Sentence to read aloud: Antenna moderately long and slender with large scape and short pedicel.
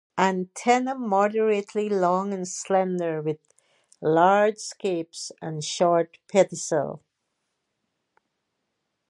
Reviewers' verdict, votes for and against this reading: accepted, 2, 0